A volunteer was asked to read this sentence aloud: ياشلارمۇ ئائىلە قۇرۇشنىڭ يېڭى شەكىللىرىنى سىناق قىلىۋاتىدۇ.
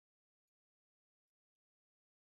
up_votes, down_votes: 0, 2